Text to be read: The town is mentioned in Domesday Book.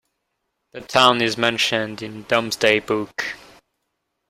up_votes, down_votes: 1, 2